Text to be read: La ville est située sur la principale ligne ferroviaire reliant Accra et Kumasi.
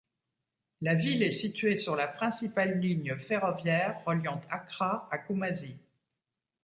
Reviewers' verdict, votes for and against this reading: rejected, 1, 2